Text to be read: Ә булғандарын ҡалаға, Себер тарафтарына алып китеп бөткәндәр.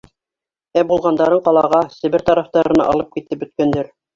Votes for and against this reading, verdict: 2, 0, accepted